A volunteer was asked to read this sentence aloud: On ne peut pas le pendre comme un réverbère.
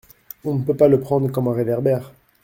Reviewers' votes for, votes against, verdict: 0, 2, rejected